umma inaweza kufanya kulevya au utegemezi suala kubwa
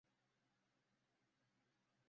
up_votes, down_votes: 0, 2